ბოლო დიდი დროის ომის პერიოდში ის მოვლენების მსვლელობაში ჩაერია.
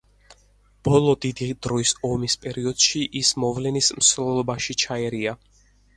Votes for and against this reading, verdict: 0, 4, rejected